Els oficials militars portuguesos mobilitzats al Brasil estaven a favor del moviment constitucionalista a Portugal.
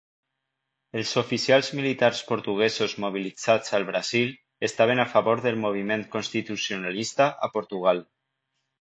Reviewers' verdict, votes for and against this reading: accepted, 2, 0